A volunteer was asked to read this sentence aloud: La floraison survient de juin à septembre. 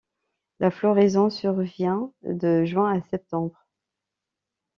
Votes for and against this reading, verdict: 2, 0, accepted